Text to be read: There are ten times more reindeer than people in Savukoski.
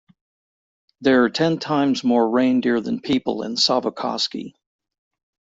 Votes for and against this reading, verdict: 2, 0, accepted